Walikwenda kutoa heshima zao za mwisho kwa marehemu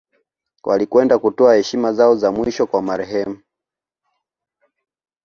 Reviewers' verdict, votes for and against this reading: accepted, 2, 0